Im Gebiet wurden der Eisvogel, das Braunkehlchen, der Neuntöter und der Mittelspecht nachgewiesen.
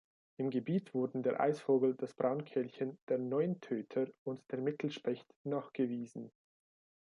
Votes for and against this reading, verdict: 2, 0, accepted